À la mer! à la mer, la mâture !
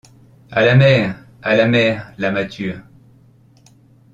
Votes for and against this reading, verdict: 1, 2, rejected